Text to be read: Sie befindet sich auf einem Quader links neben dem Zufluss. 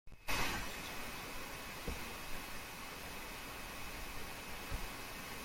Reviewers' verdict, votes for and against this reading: rejected, 0, 2